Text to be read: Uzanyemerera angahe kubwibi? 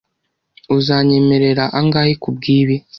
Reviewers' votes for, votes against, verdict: 2, 0, accepted